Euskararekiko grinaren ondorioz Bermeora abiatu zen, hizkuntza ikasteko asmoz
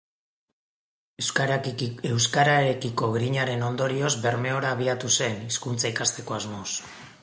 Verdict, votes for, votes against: rejected, 0, 2